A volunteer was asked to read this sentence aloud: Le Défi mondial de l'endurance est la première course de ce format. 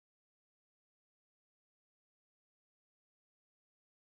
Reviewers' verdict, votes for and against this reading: rejected, 0, 2